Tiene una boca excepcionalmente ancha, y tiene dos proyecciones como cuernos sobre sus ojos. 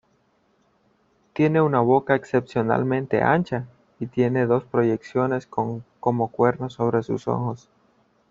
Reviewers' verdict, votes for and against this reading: accepted, 2, 1